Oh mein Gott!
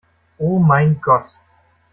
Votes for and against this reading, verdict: 2, 0, accepted